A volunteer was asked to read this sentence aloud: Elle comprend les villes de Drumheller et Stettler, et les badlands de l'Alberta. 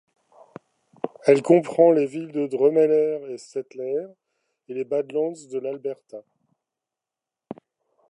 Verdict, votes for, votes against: accepted, 2, 0